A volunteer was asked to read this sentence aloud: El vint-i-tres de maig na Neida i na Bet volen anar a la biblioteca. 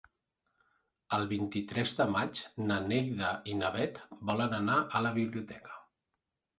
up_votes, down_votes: 2, 1